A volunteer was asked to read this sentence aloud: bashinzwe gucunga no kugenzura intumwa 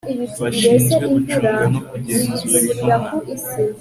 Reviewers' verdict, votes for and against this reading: accepted, 4, 0